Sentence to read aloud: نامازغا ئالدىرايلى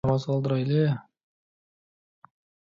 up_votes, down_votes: 0, 2